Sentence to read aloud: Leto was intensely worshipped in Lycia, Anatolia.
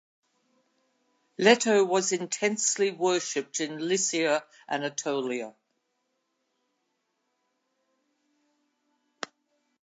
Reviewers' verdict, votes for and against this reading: accepted, 2, 0